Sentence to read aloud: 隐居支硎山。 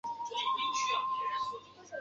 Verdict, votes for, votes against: rejected, 0, 4